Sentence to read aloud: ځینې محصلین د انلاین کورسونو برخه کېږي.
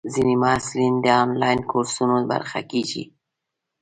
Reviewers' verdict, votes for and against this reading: accepted, 2, 0